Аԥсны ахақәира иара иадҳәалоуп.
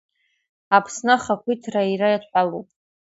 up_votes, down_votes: 2, 0